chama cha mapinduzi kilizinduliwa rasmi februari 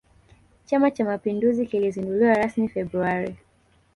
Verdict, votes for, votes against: rejected, 1, 2